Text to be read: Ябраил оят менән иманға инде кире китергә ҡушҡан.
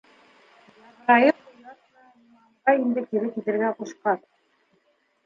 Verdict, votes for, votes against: rejected, 0, 2